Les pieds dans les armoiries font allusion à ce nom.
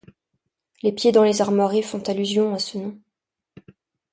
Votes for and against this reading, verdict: 2, 0, accepted